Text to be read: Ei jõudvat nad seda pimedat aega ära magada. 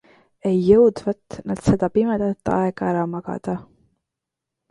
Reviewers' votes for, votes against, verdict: 2, 0, accepted